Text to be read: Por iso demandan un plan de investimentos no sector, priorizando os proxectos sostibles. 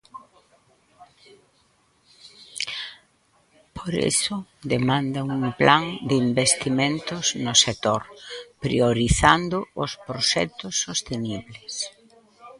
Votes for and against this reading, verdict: 0, 2, rejected